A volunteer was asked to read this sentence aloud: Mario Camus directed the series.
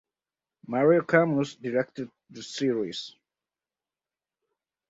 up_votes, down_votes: 4, 0